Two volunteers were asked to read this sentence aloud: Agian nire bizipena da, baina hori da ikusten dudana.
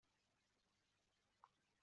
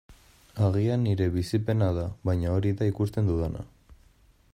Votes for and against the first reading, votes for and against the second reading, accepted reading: 0, 2, 2, 0, second